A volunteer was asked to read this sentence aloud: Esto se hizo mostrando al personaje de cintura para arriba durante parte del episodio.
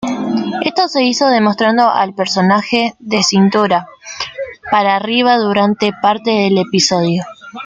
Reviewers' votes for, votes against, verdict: 0, 2, rejected